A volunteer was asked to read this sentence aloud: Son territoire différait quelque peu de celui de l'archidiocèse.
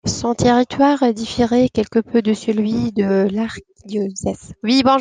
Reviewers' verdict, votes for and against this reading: rejected, 0, 2